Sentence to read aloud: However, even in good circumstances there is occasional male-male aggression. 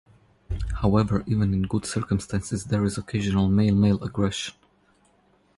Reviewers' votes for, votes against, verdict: 0, 2, rejected